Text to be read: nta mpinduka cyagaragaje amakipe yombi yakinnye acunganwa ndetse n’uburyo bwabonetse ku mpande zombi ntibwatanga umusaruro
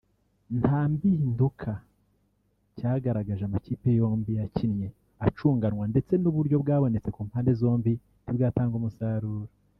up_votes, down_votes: 1, 2